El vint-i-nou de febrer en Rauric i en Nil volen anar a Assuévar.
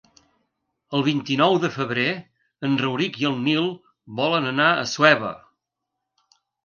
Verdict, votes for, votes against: rejected, 1, 2